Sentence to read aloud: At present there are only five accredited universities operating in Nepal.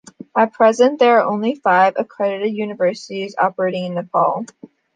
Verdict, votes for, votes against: accepted, 2, 0